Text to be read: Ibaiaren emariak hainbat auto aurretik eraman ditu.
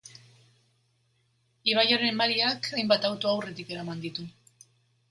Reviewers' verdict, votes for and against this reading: accepted, 2, 1